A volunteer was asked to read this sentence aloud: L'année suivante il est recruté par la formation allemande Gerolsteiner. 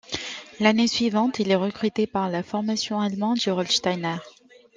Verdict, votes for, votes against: accepted, 2, 0